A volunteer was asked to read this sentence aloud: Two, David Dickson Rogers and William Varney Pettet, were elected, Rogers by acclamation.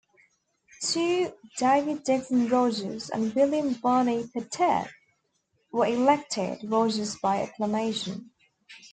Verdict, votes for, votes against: rejected, 0, 2